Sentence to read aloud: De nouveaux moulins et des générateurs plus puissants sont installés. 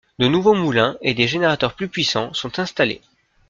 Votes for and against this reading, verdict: 2, 0, accepted